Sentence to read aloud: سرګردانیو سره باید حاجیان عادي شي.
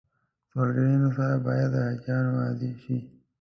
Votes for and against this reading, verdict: 1, 2, rejected